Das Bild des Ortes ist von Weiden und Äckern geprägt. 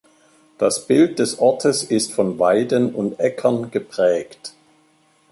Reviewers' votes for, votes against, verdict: 3, 0, accepted